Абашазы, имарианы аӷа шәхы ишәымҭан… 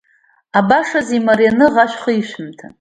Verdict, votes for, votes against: accepted, 2, 1